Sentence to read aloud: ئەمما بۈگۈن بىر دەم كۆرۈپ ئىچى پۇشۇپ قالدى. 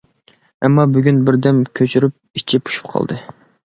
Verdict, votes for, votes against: rejected, 1, 2